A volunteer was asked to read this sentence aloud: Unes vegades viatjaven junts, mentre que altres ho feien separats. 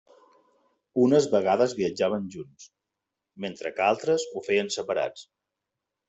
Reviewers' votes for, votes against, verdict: 3, 0, accepted